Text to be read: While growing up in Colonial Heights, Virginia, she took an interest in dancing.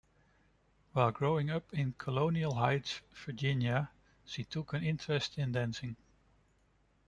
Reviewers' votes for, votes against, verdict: 1, 2, rejected